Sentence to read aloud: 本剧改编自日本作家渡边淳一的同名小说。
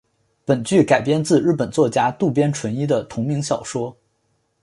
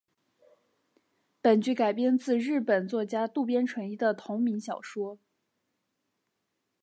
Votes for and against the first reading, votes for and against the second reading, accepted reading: 3, 0, 1, 2, first